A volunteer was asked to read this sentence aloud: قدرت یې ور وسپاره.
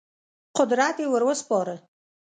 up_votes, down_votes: 2, 0